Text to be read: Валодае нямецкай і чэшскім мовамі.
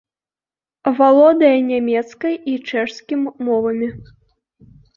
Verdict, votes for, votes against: accepted, 2, 0